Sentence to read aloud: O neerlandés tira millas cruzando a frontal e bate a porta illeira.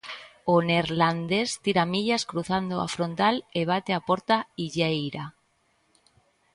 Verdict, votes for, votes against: accepted, 2, 0